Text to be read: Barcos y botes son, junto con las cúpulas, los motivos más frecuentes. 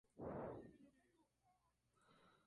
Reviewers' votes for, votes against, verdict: 0, 2, rejected